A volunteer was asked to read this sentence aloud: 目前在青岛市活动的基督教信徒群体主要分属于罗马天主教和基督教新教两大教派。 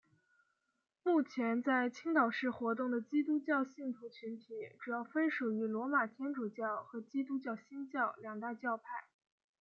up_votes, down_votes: 2, 0